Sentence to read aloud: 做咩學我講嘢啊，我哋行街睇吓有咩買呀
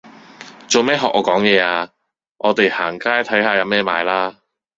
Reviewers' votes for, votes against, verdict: 1, 2, rejected